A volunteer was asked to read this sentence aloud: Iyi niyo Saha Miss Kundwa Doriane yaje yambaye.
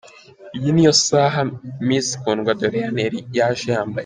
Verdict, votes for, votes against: rejected, 0, 2